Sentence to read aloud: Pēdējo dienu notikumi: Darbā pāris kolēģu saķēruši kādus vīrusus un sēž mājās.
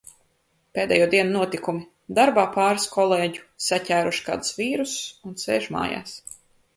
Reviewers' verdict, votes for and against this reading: accepted, 2, 0